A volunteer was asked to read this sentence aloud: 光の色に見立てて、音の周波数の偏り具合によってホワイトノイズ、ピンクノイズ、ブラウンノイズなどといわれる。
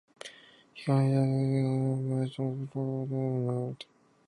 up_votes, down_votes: 2, 4